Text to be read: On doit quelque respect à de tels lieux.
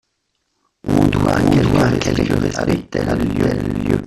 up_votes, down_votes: 0, 2